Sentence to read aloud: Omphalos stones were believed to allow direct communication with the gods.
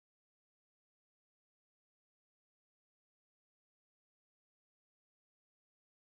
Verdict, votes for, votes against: rejected, 0, 2